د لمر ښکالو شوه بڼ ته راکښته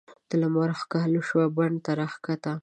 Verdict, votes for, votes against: accepted, 6, 0